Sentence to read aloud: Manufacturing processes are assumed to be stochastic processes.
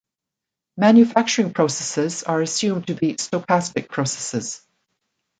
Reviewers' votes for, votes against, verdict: 2, 0, accepted